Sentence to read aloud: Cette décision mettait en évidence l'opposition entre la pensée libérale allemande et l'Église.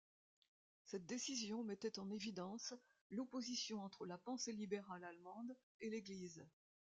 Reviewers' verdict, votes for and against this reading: accepted, 2, 1